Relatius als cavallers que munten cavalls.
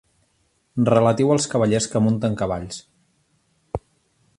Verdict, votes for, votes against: rejected, 0, 2